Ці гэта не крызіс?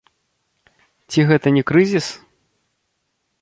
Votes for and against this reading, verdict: 2, 1, accepted